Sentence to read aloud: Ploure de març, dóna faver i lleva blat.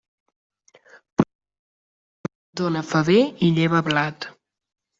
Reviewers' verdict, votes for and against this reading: rejected, 0, 2